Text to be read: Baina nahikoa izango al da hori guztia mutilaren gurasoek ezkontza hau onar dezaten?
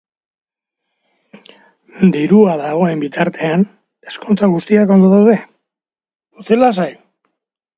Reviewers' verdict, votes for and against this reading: rejected, 0, 3